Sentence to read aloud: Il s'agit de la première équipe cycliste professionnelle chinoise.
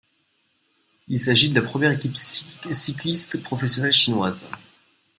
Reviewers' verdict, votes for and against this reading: rejected, 1, 2